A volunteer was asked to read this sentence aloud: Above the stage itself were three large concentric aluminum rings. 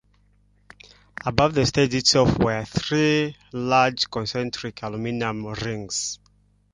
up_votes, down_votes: 2, 1